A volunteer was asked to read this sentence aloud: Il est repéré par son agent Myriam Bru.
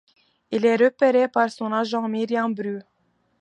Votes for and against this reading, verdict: 2, 1, accepted